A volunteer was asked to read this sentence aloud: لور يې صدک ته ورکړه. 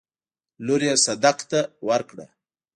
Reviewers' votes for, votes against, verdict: 0, 2, rejected